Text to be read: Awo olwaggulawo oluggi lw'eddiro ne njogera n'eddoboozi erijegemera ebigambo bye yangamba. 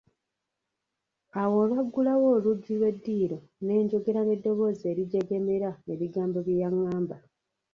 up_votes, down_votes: 0, 2